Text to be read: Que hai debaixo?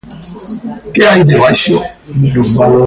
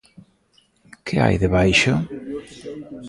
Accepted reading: second